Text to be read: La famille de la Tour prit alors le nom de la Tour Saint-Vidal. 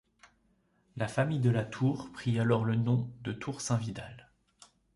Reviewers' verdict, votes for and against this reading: rejected, 0, 2